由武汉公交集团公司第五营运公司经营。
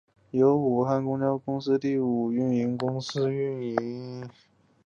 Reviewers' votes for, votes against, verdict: 0, 2, rejected